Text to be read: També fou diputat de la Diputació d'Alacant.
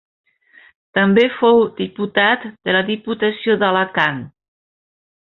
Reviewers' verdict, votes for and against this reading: accepted, 3, 0